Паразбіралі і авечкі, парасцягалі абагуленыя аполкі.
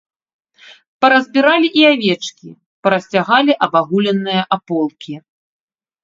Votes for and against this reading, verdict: 2, 0, accepted